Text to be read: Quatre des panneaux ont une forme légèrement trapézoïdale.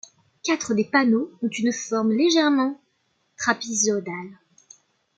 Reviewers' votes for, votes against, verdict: 0, 2, rejected